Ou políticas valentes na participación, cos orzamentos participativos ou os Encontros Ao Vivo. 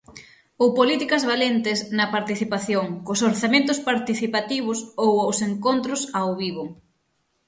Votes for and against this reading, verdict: 6, 0, accepted